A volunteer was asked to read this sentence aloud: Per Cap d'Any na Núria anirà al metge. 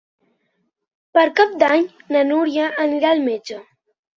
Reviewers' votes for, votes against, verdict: 4, 0, accepted